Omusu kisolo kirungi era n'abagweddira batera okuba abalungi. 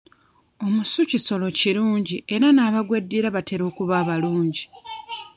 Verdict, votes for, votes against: rejected, 1, 2